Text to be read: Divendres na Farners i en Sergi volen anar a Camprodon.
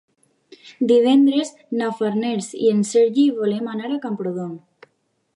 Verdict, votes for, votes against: accepted, 2, 0